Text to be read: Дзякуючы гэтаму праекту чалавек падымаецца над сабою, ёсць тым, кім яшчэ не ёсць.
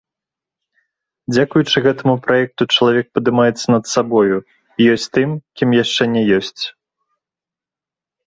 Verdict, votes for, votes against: accepted, 2, 0